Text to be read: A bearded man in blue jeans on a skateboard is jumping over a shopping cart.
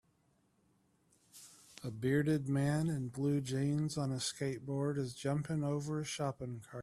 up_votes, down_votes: 2, 0